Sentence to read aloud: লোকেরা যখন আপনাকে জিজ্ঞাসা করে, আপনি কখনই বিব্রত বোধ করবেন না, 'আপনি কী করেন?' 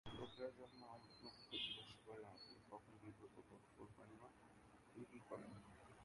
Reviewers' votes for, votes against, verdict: 0, 11, rejected